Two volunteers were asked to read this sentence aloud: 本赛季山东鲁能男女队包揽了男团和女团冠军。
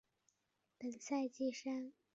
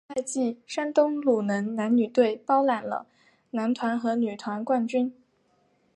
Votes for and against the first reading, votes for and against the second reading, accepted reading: 0, 3, 4, 1, second